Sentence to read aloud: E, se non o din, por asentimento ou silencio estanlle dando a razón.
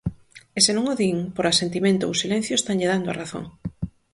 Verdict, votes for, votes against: accepted, 4, 0